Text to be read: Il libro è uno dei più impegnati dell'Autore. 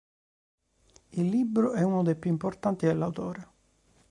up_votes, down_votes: 1, 3